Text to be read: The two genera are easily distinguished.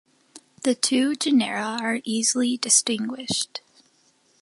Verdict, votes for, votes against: accepted, 2, 0